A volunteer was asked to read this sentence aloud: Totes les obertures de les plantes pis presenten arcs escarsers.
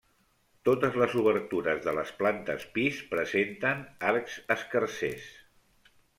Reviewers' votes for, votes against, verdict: 3, 1, accepted